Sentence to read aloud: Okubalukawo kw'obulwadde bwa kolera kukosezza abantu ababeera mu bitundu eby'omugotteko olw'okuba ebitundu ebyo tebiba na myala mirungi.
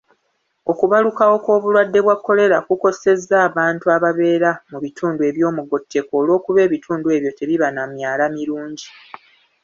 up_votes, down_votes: 2, 0